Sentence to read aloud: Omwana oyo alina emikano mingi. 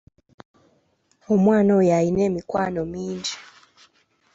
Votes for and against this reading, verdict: 1, 2, rejected